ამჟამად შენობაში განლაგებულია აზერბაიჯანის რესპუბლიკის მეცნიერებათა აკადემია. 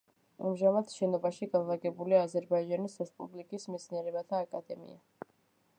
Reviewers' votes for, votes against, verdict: 1, 2, rejected